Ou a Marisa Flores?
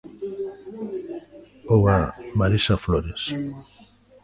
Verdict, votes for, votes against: rejected, 1, 2